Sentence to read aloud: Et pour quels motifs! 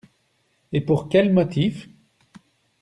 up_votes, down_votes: 2, 1